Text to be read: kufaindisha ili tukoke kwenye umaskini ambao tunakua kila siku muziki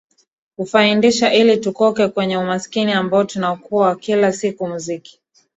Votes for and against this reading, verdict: 2, 1, accepted